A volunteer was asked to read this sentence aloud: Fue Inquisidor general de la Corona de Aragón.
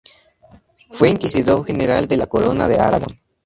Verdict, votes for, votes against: accepted, 2, 0